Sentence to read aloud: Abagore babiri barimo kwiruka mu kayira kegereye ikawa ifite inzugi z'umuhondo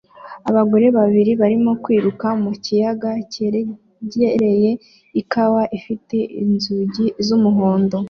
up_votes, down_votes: 1, 2